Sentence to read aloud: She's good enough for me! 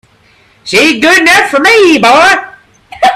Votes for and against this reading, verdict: 0, 3, rejected